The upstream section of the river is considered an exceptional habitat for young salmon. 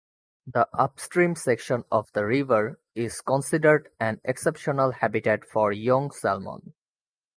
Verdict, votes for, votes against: accepted, 2, 1